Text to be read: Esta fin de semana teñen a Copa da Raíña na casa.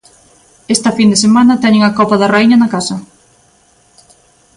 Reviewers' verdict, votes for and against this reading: accepted, 2, 0